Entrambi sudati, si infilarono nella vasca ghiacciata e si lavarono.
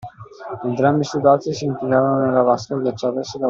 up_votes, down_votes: 0, 2